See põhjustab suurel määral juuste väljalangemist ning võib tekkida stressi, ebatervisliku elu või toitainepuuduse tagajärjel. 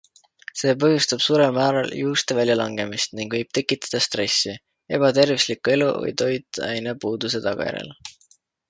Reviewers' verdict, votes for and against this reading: accepted, 2, 0